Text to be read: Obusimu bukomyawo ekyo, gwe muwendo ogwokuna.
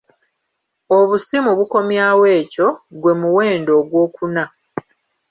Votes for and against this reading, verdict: 1, 2, rejected